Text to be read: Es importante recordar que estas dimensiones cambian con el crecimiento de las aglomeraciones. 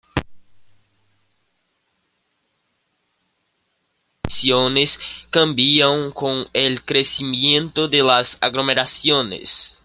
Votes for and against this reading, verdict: 0, 2, rejected